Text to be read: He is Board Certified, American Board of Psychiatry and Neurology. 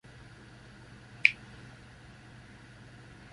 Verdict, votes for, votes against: rejected, 0, 2